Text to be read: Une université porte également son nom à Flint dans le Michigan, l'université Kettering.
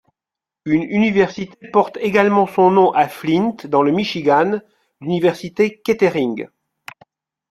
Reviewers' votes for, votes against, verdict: 2, 1, accepted